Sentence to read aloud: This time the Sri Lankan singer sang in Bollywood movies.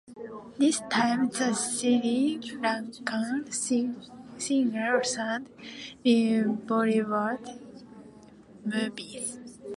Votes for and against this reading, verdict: 0, 2, rejected